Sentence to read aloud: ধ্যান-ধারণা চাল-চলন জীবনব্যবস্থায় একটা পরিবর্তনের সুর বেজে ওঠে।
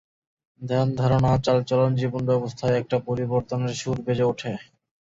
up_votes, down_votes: 4, 0